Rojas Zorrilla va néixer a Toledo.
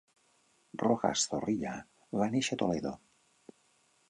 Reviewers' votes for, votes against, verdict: 1, 2, rejected